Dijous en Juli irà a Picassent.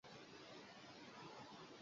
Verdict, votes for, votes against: rejected, 1, 2